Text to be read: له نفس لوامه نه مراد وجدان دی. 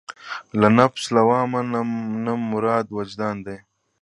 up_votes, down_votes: 1, 2